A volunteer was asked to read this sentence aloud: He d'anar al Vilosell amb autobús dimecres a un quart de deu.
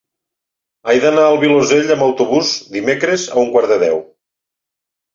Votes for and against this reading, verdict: 1, 2, rejected